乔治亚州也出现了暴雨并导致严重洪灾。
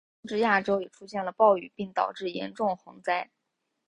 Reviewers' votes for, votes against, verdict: 0, 2, rejected